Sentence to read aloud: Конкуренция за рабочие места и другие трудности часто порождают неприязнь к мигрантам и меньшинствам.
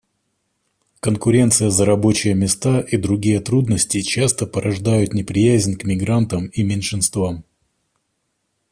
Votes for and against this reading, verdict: 2, 0, accepted